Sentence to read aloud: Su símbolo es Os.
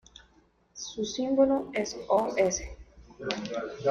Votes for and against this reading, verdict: 2, 1, accepted